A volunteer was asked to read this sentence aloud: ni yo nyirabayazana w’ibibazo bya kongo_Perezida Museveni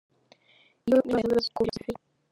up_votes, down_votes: 0, 2